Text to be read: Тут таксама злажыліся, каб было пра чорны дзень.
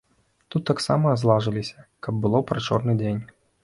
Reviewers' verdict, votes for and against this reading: rejected, 1, 2